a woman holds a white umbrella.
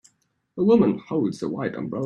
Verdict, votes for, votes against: rejected, 1, 2